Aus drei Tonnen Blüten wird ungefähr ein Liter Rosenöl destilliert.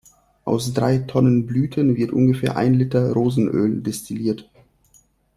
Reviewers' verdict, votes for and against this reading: accepted, 2, 0